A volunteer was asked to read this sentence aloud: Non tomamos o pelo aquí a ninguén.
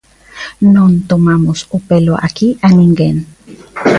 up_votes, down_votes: 2, 0